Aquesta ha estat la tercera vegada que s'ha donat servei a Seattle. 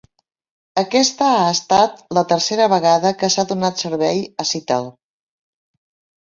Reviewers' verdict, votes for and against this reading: rejected, 1, 2